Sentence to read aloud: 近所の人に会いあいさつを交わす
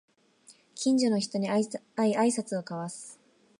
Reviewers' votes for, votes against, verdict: 0, 2, rejected